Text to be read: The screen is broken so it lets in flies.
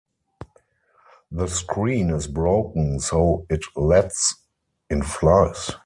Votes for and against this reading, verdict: 4, 0, accepted